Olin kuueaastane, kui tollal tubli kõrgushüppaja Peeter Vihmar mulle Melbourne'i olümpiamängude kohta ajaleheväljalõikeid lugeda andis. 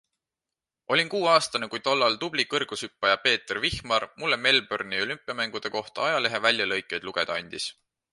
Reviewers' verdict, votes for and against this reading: accepted, 2, 0